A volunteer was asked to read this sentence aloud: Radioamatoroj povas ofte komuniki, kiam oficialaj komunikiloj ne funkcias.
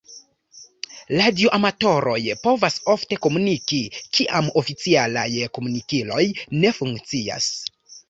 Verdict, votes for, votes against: rejected, 0, 2